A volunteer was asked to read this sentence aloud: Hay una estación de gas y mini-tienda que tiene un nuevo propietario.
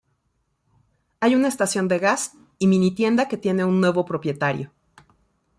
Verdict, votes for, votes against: accepted, 2, 0